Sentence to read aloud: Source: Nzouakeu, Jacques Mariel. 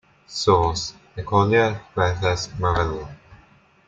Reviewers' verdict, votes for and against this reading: rejected, 0, 2